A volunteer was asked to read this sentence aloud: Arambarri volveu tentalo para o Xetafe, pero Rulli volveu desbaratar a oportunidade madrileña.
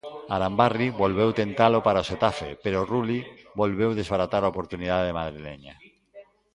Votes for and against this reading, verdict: 2, 0, accepted